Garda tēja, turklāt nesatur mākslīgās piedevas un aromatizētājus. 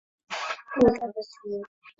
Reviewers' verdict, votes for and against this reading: rejected, 0, 2